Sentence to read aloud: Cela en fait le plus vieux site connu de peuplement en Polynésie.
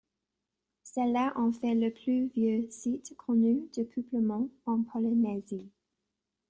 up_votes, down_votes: 0, 2